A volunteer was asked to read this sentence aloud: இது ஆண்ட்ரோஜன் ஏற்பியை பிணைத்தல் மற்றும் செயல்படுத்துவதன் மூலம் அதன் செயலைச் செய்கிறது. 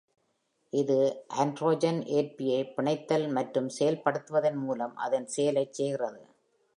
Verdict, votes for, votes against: accepted, 2, 0